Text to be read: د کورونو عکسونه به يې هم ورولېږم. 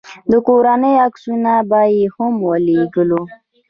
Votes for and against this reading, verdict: 2, 0, accepted